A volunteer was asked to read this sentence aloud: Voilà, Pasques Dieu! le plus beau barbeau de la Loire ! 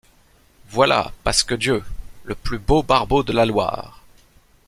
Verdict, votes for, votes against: accepted, 2, 0